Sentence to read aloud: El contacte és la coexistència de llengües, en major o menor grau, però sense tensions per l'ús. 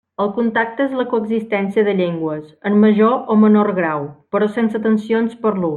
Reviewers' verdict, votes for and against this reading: rejected, 1, 2